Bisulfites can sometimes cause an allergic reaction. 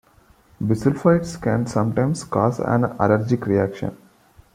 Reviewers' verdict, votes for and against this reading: accepted, 2, 0